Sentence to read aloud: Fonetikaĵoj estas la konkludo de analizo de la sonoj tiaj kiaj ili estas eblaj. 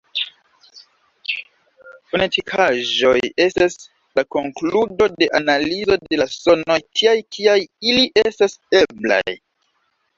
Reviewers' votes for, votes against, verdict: 2, 0, accepted